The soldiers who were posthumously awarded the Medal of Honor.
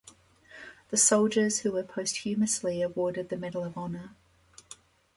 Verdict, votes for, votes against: accepted, 2, 1